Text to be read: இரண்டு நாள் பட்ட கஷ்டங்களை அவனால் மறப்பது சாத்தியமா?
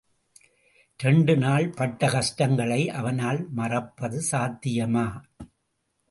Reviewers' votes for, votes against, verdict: 0, 2, rejected